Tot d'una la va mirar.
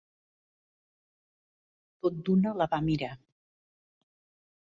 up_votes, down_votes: 1, 2